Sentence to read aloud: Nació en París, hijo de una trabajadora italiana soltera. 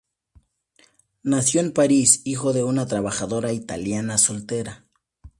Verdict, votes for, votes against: accepted, 2, 0